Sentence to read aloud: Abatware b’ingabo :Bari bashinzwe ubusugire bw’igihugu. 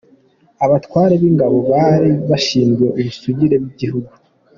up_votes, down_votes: 2, 1